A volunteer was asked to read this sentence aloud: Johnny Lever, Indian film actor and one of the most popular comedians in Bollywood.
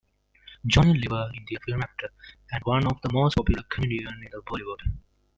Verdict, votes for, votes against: rejected, 0, 2